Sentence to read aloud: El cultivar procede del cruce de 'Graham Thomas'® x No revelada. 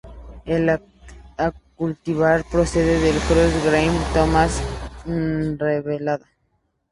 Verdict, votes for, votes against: rejected, 0, 2